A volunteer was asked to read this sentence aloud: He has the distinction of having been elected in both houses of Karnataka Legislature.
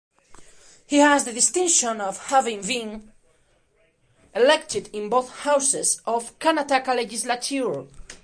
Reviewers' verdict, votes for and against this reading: rejected, 1, 2